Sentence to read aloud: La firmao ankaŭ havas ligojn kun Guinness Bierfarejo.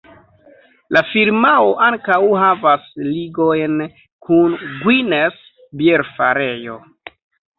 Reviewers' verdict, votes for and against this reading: rejected, 0, 2